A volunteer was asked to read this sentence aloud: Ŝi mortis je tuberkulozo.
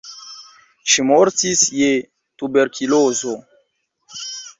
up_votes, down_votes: 2, 0